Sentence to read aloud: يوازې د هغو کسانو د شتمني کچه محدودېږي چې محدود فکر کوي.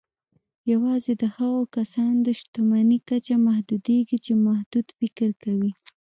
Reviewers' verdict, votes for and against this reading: rejected, 1, 2